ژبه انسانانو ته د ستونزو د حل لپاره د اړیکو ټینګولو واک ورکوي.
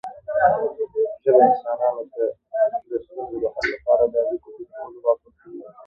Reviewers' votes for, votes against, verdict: 1, 2, rejected